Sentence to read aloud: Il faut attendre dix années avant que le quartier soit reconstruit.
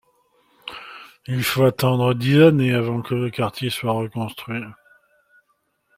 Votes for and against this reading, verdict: 2, 0, accepted